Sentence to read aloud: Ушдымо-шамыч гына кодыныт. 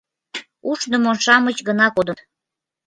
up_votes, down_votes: 1, 2